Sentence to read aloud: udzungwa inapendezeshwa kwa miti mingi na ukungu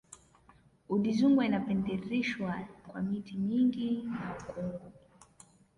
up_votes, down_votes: 1, 2